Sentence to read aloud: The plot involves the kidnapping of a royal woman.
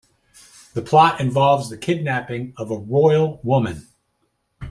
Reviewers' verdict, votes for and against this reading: accepted, 2, 0